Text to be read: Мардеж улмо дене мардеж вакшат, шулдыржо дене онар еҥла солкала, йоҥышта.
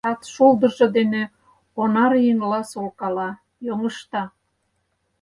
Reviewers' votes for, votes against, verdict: 0, 4, rejected